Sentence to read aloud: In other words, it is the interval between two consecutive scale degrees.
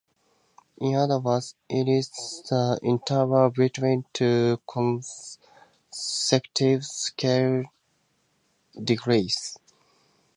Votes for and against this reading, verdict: 2, 0, accepted